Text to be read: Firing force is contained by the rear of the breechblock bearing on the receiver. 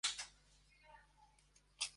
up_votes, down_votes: 0, 2